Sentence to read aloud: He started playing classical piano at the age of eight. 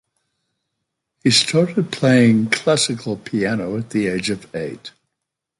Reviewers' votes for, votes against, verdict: 2, 0, accepted